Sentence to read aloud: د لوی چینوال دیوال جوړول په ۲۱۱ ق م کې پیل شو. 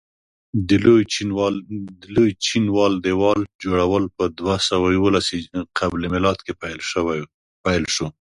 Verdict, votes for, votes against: rejected, 0, 2